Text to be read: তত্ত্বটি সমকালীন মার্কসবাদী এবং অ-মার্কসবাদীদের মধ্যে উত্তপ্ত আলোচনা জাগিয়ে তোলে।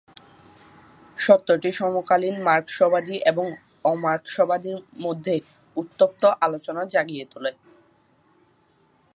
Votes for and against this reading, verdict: 1, 8, rejected